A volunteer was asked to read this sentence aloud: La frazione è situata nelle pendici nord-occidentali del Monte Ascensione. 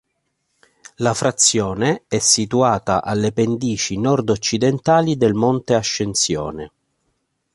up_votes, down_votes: 0, 2